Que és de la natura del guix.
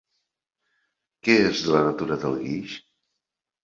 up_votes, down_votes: 1, 3